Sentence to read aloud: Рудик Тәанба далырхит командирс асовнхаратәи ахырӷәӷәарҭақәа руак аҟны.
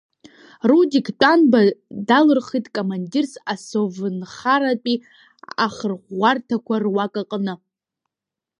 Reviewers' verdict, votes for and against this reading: rejected, 1, 2